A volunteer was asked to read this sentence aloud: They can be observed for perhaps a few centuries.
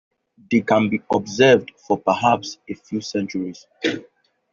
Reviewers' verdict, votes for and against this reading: accepted, 2, 1